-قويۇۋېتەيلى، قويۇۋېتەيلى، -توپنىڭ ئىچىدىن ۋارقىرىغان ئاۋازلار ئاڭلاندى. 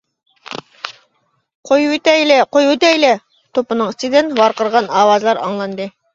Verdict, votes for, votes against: accepted, 2, 0